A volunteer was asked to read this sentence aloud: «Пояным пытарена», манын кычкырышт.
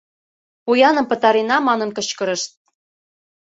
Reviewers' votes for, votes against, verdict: 2, 0, accepted